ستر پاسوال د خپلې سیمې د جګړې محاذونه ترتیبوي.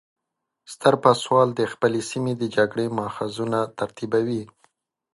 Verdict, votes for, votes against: rejected, 1, 2